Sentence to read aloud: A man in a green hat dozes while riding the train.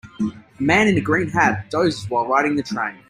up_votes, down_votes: 1, 2